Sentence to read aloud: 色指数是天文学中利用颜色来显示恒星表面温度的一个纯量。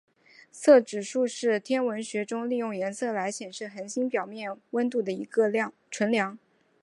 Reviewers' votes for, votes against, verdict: 1, 2, rejected